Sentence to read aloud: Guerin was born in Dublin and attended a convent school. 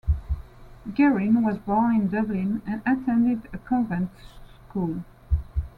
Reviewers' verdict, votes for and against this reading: accepted, 2, 0